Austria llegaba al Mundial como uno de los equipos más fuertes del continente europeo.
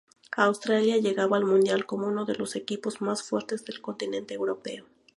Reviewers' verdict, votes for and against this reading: rejected, 2, 2